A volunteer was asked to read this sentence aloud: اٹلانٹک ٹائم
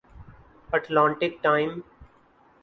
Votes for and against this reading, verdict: 15, 0, accepted